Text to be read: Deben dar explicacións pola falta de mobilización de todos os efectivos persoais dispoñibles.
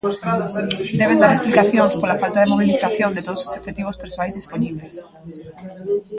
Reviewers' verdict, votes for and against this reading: rejected, 0, 2